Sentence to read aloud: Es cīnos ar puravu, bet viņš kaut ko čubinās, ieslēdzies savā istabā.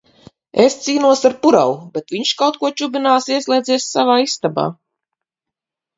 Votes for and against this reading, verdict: 2, 2, rejected